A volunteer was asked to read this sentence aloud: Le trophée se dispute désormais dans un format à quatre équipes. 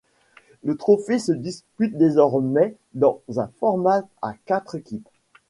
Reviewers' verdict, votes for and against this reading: accepted, 2, 0